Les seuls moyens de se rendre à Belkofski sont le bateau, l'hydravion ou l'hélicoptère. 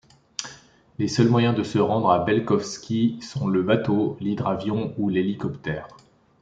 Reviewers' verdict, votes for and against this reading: accepted, 3, 0